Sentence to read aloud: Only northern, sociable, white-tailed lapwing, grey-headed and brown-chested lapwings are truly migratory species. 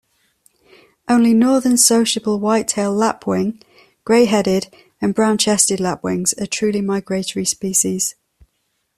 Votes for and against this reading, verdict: 2, 0, accepted